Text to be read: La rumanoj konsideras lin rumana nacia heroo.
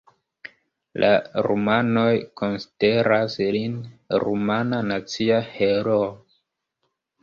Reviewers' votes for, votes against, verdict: 1, 2, rejected